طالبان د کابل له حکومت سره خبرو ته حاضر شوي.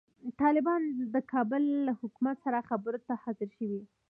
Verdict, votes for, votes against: accepted, 2, 1